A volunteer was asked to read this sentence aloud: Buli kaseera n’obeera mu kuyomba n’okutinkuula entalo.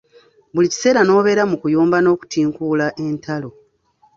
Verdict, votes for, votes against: rejected, 0, 2